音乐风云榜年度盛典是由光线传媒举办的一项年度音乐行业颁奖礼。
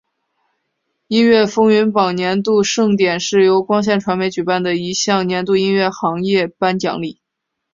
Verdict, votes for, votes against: accepted, 2, 0